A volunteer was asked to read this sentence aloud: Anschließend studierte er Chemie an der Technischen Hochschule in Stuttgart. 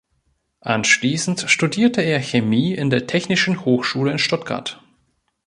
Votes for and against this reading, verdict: 1, 2, rejected